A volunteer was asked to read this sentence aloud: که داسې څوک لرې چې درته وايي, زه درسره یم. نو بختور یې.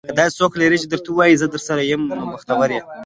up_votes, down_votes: 2, 0